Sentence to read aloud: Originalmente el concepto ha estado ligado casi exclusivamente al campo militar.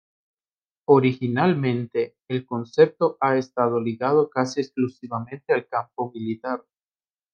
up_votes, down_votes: 2, 0